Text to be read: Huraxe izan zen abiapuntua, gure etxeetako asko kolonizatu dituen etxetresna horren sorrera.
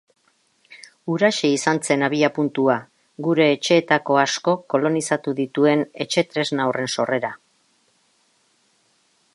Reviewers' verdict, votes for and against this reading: accepted, 2, 0